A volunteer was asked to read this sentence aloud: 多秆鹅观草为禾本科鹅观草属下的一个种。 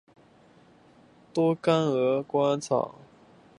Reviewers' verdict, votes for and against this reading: accepted, 4, 1